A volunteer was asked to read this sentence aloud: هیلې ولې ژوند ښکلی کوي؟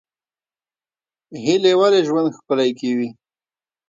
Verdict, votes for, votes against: accepted, 2, 0